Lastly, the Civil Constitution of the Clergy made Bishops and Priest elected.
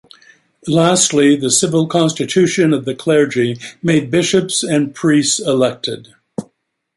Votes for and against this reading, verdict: 2, 0, accepted